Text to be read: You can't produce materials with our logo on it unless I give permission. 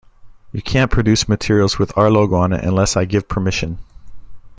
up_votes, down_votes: 2, 0